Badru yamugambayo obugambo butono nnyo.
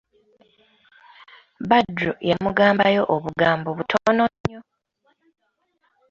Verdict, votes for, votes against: rejected, 1, 2